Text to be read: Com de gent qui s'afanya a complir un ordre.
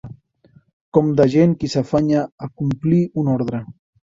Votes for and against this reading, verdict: 2, 0, accepted